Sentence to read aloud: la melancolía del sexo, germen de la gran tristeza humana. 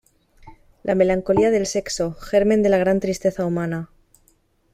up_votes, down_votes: 2, 0